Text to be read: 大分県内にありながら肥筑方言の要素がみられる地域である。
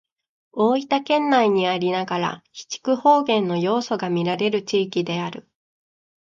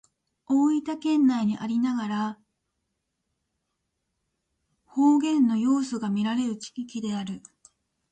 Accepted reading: first